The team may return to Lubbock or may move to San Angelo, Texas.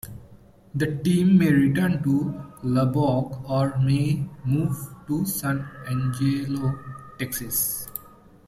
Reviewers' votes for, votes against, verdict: 2, 0, accepted